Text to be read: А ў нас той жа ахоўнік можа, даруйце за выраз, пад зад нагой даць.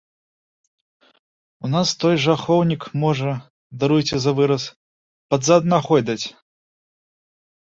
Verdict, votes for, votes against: accepted, 2, 0